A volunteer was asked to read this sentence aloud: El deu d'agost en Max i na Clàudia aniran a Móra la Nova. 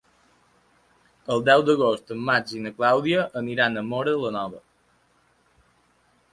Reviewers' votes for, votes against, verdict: 3, 0, accepted